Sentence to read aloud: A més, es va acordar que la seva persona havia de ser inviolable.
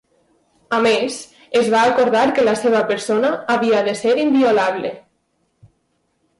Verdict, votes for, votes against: accepted, 2, 0